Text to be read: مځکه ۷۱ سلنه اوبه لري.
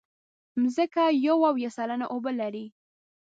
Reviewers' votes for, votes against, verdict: 0, 2, rejected